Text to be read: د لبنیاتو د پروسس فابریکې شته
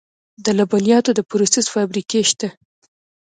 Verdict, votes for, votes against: accepted, 2, 0